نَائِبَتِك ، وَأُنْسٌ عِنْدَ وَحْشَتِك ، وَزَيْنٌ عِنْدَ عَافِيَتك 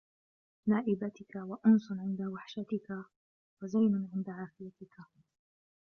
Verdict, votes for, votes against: rejected, 1, 2